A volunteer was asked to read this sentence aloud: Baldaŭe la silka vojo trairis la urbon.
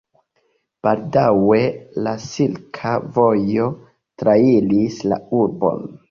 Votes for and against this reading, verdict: 1, 2, rejected